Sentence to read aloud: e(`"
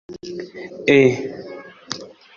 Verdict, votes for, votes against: rejected, 1, 2